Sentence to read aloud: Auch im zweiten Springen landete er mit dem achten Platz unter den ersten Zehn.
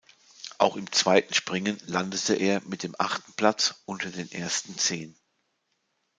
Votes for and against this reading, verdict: 2, 0, accepted